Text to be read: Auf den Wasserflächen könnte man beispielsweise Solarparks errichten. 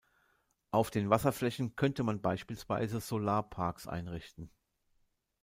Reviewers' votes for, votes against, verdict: 0, 2, rejected